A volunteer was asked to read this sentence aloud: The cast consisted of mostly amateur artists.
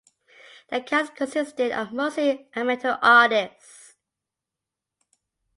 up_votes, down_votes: 2, 1